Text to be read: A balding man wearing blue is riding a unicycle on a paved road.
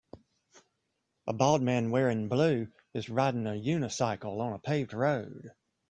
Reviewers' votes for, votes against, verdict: 0, 2, rejected